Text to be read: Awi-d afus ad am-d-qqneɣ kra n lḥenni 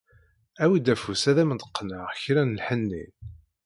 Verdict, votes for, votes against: accepted, 2, 1